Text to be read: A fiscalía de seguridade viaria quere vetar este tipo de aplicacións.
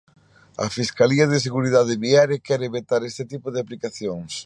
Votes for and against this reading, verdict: 2, 0, accepted